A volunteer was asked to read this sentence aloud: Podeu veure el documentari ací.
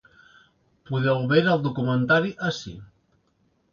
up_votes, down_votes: 2, 0